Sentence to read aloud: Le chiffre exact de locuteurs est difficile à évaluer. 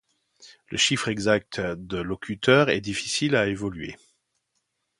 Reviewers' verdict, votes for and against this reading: rejected, 1, 2